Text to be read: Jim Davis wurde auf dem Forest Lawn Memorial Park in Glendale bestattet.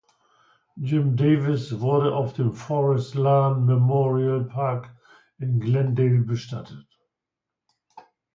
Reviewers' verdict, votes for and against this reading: accepted, 2, 0